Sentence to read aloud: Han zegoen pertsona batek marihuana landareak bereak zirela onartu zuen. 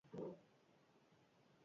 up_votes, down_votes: 0, 4